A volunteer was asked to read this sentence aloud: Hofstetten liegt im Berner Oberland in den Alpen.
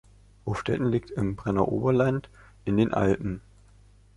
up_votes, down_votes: 0, 2